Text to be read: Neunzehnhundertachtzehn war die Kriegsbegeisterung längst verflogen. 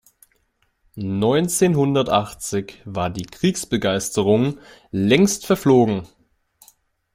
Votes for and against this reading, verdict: 0, 2, rejected